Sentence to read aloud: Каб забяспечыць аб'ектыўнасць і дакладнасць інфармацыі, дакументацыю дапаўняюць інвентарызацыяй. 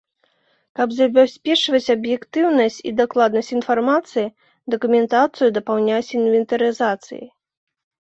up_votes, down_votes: 1, 2